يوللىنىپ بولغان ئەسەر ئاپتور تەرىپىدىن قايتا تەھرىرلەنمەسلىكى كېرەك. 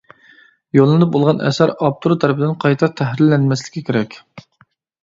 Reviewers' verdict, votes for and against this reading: accepted, 2, 0